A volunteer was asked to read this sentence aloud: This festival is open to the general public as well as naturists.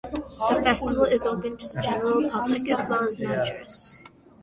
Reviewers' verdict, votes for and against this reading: rejected, 1, 2